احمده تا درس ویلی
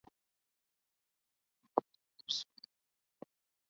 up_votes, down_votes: 0, 4